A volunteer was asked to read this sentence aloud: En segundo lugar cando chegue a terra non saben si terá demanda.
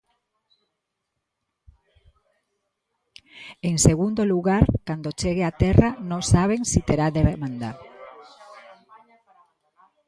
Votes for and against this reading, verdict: 0, 2, rejected